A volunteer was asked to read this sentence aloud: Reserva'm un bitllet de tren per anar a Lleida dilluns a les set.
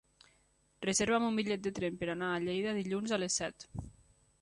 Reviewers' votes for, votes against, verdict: 3, 0, accepted